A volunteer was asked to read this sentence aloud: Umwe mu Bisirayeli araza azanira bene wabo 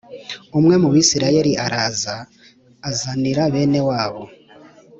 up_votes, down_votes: 2, 0